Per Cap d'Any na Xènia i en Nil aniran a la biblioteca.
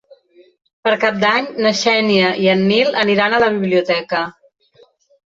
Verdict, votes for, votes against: accepted, 2, 0